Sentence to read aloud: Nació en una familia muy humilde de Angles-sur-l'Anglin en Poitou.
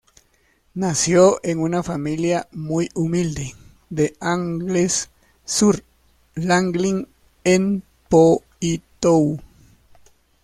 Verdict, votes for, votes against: rejected, 0, 2